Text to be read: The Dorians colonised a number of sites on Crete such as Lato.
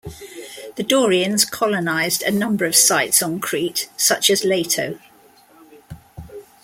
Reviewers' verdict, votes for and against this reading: accepted, 2, 0